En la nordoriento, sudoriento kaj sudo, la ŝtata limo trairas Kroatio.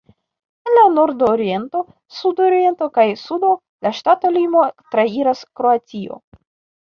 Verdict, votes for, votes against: rejected, 0, 2